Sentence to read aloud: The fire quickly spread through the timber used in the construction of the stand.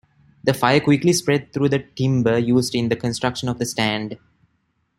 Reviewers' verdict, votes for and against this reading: accepted, 2, 0